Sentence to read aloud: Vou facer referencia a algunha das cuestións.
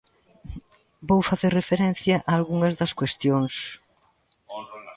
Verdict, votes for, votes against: rejected, 0, 2